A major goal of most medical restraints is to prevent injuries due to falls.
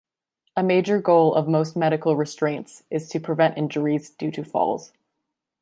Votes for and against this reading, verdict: 2, 0, accepted